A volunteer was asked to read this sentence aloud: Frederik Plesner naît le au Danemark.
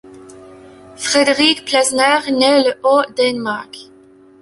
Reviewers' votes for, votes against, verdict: 0, 2, rejected